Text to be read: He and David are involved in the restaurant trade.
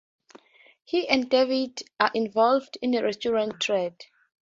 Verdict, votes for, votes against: accepted, 2, 0